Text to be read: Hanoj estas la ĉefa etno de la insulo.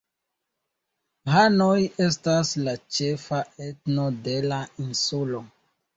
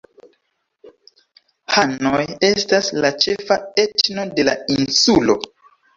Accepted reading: first